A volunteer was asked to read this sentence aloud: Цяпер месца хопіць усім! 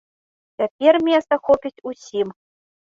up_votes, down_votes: 1, 2